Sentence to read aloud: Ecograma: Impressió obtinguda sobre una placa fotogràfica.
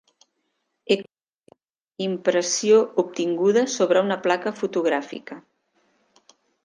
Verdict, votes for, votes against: rejected, 0, 2